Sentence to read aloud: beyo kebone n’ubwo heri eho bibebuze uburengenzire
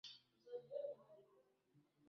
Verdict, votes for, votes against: rejected, 0, 2